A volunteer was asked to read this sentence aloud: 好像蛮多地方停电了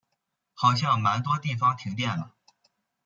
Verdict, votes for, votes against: accepted, 2, 0